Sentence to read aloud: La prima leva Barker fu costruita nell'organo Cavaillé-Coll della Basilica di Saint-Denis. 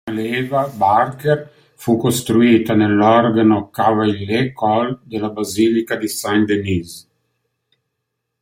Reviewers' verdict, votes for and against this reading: rejected, 0, 2